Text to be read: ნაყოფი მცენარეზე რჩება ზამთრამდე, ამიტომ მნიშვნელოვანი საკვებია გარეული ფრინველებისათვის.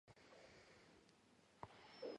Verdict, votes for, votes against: rejected, 1, 2